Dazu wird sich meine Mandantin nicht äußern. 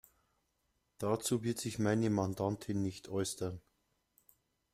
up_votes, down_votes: 2, 0